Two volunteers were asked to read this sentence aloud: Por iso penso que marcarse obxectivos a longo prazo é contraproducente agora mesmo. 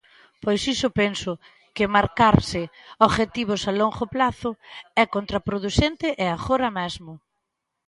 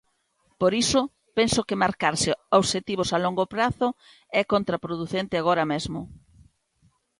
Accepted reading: second